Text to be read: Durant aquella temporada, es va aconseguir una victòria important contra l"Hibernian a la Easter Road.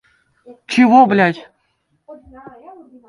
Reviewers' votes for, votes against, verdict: 0, 2, rejected